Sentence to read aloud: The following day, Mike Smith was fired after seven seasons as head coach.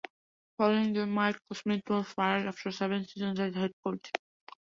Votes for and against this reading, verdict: 1, 2, rejected